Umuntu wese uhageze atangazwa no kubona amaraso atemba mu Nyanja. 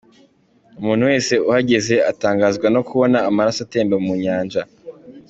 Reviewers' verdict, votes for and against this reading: accepted, 2, 1